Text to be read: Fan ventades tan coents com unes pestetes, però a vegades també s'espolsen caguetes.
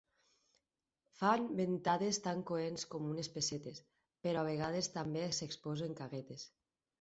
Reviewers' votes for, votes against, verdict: 2, 4, rejected